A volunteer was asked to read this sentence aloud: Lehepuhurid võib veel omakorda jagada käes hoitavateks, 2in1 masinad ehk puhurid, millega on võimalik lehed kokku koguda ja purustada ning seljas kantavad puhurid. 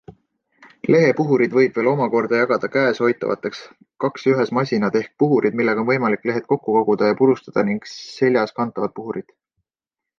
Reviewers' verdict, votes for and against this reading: rejected, 0, 2